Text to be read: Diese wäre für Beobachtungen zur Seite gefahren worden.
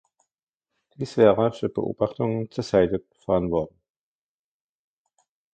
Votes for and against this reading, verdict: 0, 2, rejected